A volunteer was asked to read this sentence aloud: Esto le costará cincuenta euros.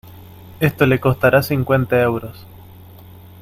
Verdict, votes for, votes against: accepted, 2, 0